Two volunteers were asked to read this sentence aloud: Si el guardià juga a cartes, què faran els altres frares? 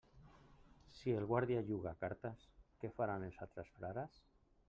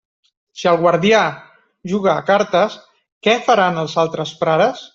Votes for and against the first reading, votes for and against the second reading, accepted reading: 0, 2, 2, 0, second